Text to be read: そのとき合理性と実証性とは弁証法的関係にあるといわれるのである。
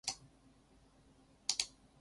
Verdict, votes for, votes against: rejected, 1, 3